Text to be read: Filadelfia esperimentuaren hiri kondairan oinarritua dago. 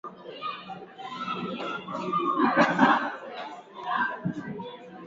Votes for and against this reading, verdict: 0, 5, rejected